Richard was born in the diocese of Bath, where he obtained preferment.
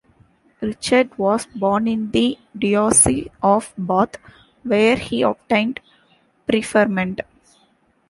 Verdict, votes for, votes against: rejected, 1, 2